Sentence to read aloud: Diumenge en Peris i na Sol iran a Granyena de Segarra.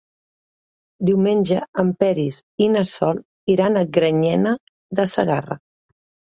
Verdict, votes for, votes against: accepted, 3, 0